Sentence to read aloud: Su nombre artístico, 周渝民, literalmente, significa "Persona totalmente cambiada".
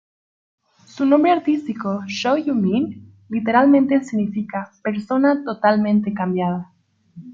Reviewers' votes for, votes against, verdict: 1, 2, rejected